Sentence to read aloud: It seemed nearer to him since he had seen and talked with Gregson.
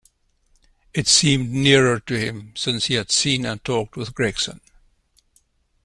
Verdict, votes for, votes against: accepted, 2, 0